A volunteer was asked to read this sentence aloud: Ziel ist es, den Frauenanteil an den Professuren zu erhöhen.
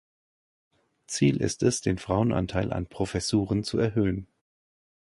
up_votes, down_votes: 0, 2